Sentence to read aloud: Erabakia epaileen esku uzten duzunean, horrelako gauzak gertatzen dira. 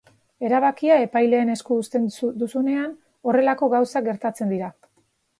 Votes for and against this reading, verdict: 0, 3, rejected